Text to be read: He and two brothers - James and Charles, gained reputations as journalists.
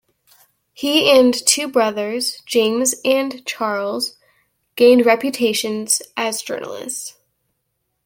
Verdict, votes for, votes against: accepted, 2, 0